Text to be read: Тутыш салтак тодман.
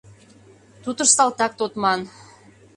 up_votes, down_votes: 2, 0